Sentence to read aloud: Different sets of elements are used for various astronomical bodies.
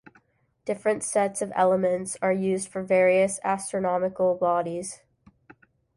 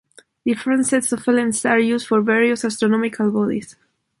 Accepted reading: first